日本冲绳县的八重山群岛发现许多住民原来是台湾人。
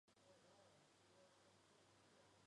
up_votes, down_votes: 0, 2